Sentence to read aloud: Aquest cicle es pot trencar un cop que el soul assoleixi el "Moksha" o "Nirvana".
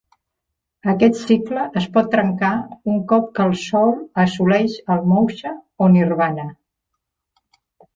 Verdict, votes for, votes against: rejected, 0, 2